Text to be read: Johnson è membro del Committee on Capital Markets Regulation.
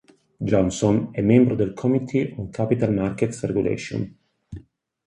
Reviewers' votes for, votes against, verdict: 4, 0, accepted